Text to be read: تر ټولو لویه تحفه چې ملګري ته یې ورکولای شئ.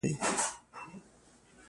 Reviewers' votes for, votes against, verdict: 1, 2, rejected